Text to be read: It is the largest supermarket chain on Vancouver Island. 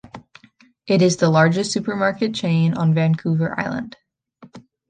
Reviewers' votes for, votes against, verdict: 2, 0, accepted